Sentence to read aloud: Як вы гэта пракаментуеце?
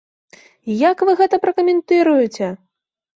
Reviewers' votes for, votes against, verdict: 0, 2, rejected